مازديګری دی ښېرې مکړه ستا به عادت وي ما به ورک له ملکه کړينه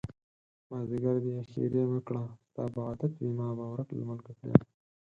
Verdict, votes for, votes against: rejected, 2, 4